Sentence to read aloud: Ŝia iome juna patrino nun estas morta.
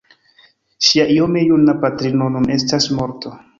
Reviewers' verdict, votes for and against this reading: accepted, 2, 1